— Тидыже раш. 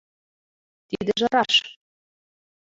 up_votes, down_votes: 2, 1